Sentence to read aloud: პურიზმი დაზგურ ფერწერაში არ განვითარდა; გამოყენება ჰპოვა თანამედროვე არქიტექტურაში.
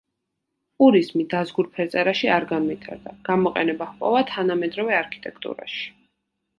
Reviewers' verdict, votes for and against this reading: accepted, 2, 0